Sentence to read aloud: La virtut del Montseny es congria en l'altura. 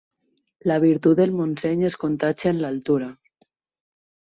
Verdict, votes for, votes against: rejected, 2, 4